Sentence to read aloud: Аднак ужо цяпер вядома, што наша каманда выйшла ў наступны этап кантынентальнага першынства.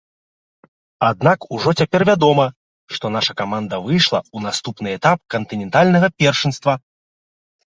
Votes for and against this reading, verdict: 2, 0, accepted